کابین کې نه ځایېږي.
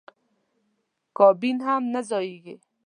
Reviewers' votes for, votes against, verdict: 1, 2, rejected